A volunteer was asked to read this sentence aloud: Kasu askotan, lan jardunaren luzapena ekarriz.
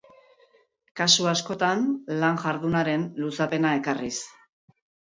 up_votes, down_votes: 2, 1